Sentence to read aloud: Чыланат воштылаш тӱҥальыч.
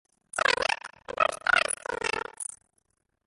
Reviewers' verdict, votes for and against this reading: rejected, 0, 2